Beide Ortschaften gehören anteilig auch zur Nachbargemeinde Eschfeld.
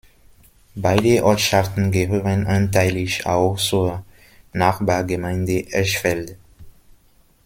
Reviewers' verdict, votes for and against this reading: rejected, 0, 2